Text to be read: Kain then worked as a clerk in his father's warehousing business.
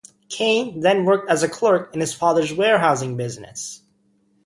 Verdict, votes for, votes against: accepted, 2, 0